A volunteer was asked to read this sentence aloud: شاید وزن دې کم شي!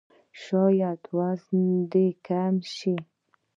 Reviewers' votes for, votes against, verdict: 0, 3, rejected